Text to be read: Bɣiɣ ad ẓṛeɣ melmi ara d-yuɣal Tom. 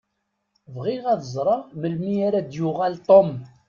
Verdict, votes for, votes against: accepted, 2, 0